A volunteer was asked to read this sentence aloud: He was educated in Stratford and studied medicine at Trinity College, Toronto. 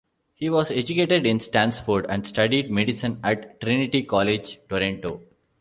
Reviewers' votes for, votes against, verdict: 0, 2, rejected